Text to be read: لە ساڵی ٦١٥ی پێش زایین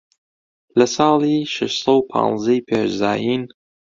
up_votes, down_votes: 0, 2